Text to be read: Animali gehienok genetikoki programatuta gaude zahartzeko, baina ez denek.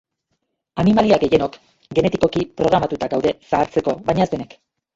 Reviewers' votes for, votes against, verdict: 1, 2, rejected